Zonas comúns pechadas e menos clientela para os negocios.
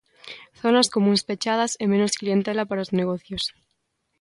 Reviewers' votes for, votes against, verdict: 2, 0, accepted